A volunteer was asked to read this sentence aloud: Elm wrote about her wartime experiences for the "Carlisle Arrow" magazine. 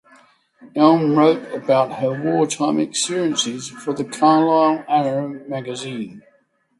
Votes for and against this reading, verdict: 3, 0, accepted